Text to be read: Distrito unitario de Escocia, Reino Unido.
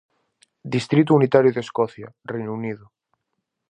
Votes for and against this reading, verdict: 4, 0, accepted